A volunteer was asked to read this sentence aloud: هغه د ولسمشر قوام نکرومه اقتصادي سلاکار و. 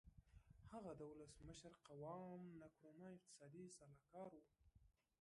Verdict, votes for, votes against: rejected, 0, 3